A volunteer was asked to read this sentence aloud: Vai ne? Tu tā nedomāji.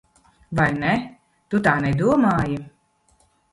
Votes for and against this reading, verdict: 0, 2, rejected